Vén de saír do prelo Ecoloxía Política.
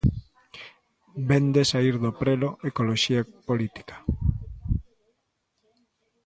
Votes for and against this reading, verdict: 1, 2, rejected